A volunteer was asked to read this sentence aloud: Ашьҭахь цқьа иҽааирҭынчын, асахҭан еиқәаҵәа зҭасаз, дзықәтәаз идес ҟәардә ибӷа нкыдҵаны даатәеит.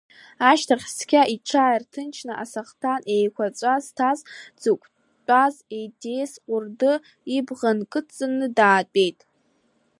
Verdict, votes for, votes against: rejected, 1, 2